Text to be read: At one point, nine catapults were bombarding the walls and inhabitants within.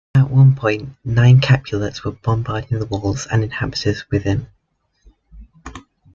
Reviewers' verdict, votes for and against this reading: rejected, 0, 2